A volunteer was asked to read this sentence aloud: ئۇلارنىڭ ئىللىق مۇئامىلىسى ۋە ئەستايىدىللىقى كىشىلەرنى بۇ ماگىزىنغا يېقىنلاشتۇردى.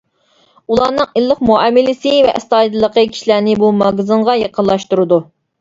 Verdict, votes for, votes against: rejected, 0, 2